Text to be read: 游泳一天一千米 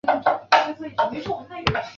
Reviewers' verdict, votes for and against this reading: rejected, 0, 2